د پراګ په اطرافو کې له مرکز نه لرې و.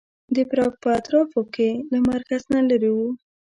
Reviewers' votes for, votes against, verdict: 2, 1, accepted